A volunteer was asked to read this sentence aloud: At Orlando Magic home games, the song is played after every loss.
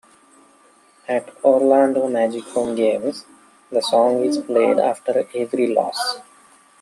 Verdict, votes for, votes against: rejected, 1, 2